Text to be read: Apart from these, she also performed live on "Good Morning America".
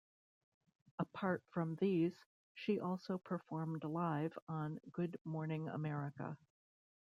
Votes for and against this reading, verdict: 1, 2, rejected